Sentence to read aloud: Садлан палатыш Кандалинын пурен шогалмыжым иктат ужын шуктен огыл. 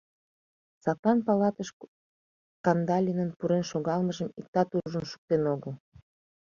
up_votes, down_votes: 1, 2